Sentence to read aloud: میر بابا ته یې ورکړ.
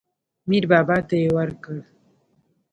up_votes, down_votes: 2, 0